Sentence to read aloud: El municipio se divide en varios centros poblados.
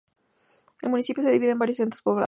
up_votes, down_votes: 0, 2